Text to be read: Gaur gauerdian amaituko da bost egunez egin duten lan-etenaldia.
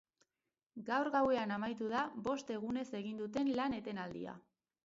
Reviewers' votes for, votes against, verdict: 0, 4, rejected